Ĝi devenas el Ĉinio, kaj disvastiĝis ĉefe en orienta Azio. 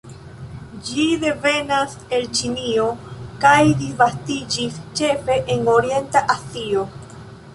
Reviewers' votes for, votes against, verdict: 0, 2, rejected